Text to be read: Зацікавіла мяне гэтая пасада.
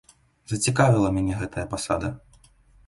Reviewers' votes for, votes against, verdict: 2, 0, accepted